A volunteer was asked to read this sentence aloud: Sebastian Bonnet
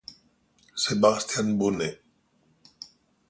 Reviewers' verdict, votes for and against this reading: accepted, 2, 0